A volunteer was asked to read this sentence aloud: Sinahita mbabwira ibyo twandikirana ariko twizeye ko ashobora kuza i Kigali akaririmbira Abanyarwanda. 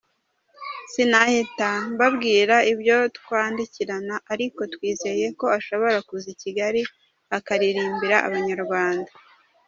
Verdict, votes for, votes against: accepted, 2, 0